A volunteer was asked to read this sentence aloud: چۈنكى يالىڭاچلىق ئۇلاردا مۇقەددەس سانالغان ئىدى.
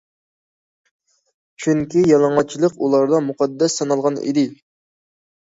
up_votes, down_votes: 2, 0